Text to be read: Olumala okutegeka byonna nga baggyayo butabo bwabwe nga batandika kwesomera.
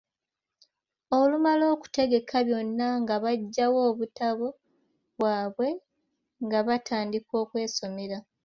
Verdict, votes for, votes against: rejected, 0, 2